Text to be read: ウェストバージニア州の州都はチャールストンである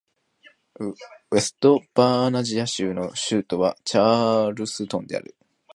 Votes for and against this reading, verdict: 0, 2, rejected